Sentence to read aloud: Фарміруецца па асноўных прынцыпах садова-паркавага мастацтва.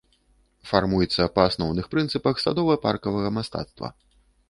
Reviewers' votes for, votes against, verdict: 0, 2, rejected